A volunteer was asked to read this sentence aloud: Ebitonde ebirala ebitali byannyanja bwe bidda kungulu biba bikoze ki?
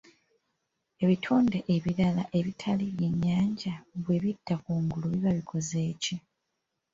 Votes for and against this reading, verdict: 1, 2, rejected